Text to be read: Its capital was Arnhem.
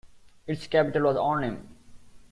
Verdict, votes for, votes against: accepted, 2, 0